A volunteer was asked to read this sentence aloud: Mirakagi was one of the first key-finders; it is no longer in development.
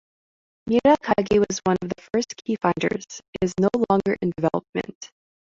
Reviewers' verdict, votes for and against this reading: accepted, 2, 1